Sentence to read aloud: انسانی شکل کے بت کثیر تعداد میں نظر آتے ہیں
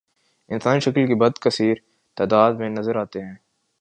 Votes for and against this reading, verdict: 1, 2, rejected